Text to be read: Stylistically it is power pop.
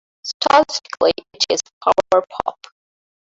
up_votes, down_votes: 0, 2